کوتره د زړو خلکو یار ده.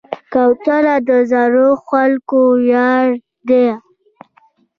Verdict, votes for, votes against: rejected, 1, 2